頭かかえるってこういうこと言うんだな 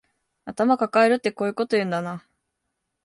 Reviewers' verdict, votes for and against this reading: accepted, 2, 0